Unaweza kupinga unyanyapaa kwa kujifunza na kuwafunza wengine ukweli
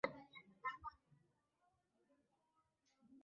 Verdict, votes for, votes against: rejected, 0, 3